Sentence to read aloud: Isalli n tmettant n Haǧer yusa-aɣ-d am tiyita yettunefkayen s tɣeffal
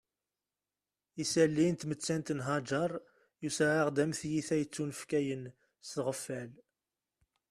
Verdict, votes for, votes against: accepted, 2, 0